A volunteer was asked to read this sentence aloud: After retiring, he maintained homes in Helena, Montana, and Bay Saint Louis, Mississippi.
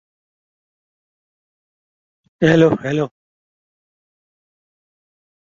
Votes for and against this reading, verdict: 0, 2, rejected